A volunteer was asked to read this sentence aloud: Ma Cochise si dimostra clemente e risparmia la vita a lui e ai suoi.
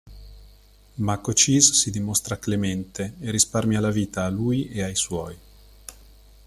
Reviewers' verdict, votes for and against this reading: accepted, 2, 0